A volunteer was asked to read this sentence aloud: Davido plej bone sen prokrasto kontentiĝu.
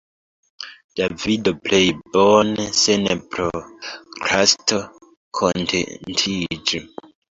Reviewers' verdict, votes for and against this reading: rejected, 2, 3